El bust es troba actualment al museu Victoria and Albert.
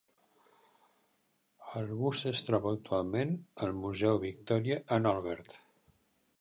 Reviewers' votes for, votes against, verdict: 1, 2, rejected